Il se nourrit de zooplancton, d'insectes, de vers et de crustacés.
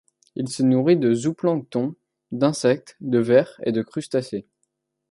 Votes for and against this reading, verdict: 1, 2, rejected